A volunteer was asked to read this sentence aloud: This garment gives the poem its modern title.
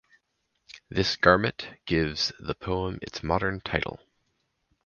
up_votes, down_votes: 2, 0